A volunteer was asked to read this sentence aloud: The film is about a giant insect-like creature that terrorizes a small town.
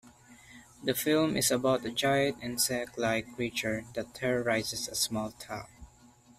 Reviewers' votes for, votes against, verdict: 2, 0, accepted